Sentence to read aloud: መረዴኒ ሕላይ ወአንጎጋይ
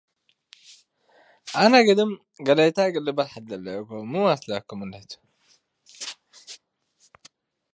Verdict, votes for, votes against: rejected, 2, 3